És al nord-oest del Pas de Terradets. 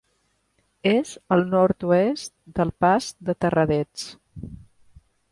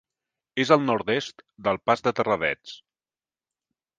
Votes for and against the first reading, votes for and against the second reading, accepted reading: 3, 0, 2, 3, first